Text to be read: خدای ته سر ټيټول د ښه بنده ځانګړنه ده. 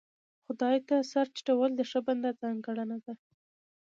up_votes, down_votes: 2, 0